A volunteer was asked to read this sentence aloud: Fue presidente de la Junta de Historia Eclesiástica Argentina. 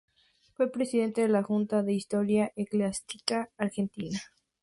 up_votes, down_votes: 0, 4